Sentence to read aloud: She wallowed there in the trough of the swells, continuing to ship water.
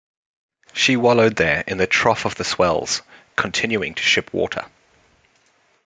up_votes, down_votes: 2, 0